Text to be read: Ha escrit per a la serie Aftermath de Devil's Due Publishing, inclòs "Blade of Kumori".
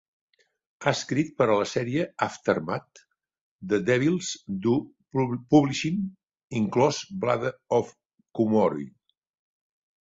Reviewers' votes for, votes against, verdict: 1, 4, rejected